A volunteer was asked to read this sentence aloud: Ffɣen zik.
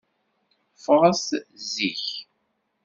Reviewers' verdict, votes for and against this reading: rejected, 1, 2